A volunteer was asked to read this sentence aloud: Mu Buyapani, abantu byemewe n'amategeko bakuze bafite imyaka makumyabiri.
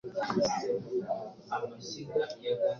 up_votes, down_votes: 1, 2